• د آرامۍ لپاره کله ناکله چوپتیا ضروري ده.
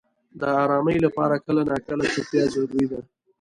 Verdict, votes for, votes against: accepted, 2, 0